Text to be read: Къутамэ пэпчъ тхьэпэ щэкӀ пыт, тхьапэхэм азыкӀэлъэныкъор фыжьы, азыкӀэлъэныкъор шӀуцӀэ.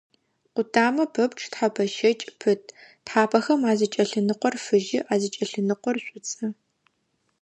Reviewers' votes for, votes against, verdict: 2, 0, accepted